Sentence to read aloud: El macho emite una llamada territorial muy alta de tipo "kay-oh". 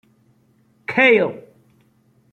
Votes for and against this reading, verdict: 1, 2, rejected